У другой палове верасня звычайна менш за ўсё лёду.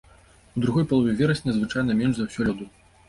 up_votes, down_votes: 2, 0